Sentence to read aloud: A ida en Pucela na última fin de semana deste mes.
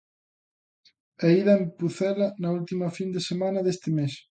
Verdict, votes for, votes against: accepted, 2, 0